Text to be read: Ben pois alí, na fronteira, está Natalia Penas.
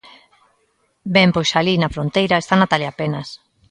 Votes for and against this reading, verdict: 2, 0, accepted